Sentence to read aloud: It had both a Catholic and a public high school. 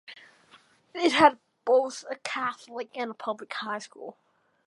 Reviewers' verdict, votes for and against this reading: accepted, 2, 1